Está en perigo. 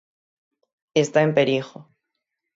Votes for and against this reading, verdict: 6, 0, accepted